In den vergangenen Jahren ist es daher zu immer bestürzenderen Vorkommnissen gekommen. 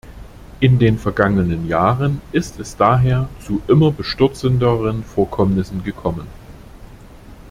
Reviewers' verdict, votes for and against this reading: accepted, 2, 1